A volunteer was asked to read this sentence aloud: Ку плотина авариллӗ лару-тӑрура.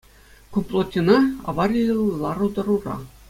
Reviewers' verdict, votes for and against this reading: accepted, 2, 0